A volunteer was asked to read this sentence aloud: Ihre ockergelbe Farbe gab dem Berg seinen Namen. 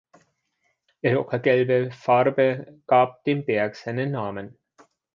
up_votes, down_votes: 1, 2